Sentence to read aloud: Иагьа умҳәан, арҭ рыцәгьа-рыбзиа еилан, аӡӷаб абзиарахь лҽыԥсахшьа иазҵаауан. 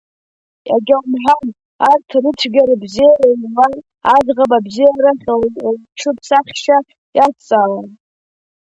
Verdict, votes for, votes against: accepted, 2, 0